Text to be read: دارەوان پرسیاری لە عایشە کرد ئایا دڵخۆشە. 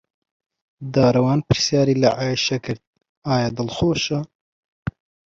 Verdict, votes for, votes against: accepted, 2, 0